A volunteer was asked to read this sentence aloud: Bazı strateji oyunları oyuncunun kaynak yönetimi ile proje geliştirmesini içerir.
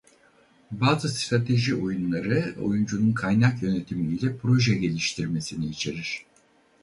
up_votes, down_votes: 2, 2